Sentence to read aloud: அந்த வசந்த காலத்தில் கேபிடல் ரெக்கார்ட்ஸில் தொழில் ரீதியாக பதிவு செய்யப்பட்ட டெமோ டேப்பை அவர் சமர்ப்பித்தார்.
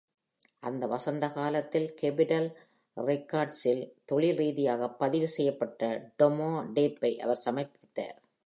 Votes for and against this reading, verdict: 2, 0, accepted